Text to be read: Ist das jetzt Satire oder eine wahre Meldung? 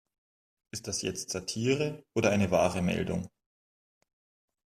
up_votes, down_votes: 2, 0